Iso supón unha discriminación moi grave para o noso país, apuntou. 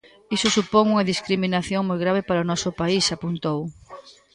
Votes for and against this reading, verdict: 1, 2, rejected